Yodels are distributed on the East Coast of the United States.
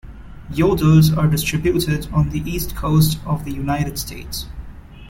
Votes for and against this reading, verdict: 2, 0, accepted